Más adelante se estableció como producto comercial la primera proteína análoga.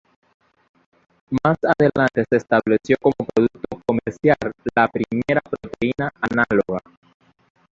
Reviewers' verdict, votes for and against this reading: rejected, 1, 3